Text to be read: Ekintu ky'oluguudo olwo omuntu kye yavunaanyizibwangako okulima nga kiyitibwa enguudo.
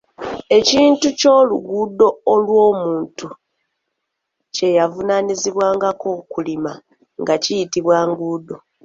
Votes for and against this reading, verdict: 1, 2, rejected